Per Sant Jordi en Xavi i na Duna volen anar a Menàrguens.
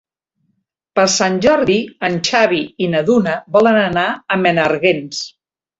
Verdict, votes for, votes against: rejected, 1, 2